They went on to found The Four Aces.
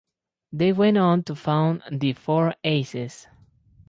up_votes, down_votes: 6, 2